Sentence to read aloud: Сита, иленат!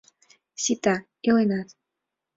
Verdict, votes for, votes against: accepted, 2, 0